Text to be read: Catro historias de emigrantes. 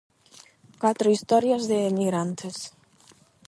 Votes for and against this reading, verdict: 8, 0, accepted